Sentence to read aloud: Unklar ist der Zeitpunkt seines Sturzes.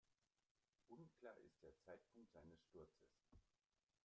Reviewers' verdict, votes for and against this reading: rejected, 1, 2